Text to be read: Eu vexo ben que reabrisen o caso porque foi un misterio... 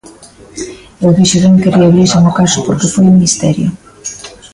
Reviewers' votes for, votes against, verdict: 1, 2, rejected